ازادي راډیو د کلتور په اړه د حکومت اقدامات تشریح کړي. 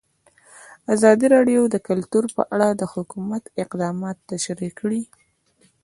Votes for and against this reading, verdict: 2, 1, accepted